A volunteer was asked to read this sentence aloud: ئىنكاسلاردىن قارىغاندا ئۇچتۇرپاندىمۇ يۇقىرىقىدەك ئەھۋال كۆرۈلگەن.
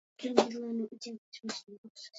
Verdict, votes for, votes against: rejected, 0, 2